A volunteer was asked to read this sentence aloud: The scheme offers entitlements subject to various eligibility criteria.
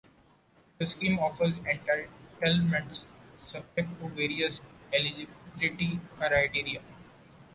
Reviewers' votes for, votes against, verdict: 2, 1, accepted